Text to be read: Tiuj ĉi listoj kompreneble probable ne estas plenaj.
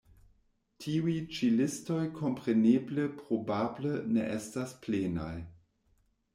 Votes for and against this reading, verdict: 2, 0, accepted